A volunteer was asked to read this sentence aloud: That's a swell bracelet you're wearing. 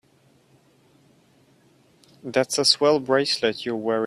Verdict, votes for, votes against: rejected, 0, 2